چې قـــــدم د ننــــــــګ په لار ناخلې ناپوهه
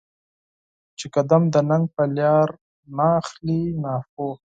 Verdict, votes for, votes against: rejected, 2, 4